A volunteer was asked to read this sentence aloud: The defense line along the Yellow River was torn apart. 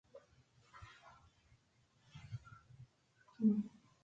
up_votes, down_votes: 0, 2